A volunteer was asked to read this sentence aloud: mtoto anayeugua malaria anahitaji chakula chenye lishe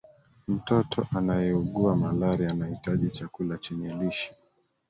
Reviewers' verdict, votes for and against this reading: rejected, 0, 2